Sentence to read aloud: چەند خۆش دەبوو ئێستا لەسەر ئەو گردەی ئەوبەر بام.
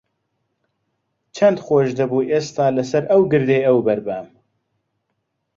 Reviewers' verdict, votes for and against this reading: accepted, 2, 0